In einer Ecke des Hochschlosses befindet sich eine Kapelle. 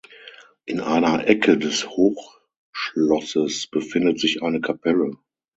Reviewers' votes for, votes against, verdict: 0, 6, rejected